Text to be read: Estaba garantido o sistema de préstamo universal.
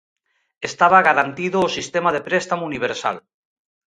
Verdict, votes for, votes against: accepted, 2, 0